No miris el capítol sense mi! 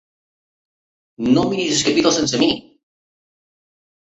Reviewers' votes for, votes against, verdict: 2, 1, accepted